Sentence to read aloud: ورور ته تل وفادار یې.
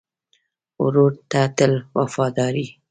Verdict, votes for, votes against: rejected, 1, 2